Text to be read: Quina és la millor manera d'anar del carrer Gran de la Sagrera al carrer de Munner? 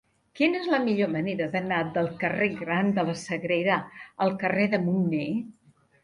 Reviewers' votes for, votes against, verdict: 3, 1, accepted